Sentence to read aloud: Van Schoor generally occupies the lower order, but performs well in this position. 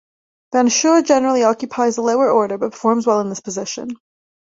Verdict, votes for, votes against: accepted, 2, 0